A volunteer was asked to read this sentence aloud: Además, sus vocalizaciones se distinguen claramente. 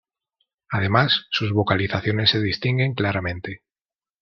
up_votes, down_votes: 2, 0